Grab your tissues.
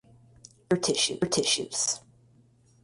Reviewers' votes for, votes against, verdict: 0, 4, rejected